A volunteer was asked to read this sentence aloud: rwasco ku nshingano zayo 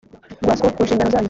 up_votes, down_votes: 2, 0